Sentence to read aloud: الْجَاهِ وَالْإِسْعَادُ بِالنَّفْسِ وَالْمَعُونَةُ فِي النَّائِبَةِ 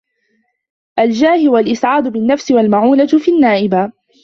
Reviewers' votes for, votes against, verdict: 2, 1, accepted